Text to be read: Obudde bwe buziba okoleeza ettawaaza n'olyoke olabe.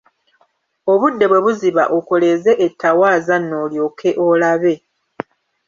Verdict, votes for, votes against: accepted, 2, 1